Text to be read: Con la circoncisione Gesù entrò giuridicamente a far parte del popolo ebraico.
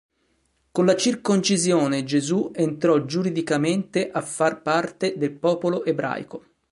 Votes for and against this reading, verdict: 3, 0, accepted